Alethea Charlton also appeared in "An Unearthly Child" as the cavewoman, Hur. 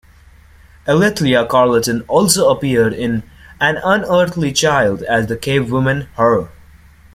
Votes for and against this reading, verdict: 2, 0, accepted